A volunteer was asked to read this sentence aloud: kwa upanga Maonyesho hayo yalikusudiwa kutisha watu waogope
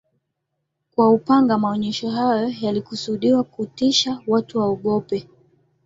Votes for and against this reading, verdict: 2, 0, accepted